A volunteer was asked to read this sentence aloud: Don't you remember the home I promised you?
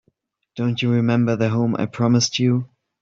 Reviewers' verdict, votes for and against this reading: accepted, 3, 0